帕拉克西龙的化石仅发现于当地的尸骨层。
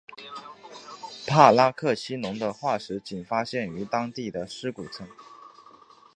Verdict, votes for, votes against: accepted, 2, 0